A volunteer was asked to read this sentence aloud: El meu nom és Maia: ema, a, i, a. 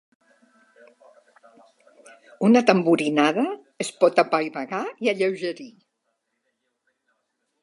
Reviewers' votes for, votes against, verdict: 0, 2, rejected